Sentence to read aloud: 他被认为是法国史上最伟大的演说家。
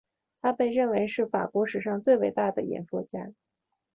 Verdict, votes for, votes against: accepted, 2, 0